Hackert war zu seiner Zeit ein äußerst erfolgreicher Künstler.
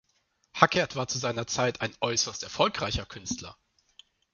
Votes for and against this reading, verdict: 2, 0, accepted